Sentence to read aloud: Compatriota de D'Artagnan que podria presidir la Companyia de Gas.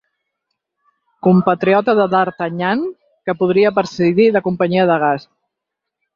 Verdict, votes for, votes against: rejected, 0, 4